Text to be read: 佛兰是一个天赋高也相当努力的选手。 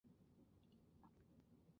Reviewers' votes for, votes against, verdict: 0, 2, rejected